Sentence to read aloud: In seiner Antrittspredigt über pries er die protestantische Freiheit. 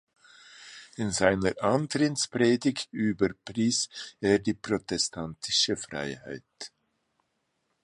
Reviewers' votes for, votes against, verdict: 1, 2, rejected